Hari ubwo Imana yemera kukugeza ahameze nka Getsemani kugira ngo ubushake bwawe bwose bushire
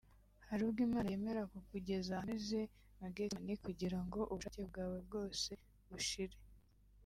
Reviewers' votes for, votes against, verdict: 0, 2, rejected